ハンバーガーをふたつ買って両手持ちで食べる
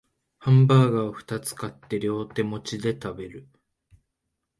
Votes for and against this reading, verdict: 4, 0, accepted